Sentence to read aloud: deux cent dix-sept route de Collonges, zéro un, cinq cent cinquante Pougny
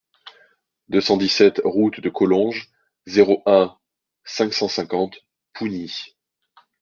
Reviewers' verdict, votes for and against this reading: accepted, 2, 0